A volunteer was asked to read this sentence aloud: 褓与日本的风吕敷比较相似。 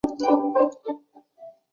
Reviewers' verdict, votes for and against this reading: rejected, 0, 2